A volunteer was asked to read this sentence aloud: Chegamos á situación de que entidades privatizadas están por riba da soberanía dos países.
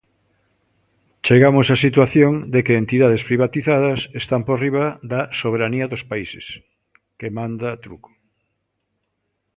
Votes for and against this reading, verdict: 0, 2, rejected